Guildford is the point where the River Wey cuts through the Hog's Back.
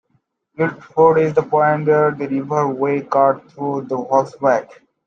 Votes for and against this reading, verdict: 0, 2, rejected